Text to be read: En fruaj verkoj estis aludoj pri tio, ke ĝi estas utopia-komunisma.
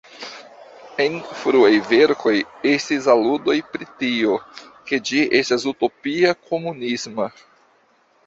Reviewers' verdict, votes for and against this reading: rejected, 0, 2